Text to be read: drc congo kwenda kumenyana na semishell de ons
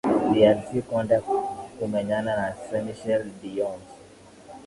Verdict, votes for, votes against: rejected, 1, 2